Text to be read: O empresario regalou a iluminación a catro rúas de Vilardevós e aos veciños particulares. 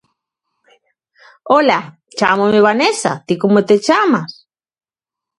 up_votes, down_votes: 0, 2